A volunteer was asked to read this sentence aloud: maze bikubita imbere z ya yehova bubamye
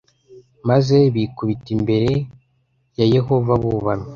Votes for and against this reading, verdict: 1, 2, rejected